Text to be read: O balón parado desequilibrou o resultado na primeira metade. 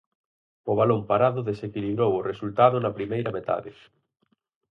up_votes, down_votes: 4, 0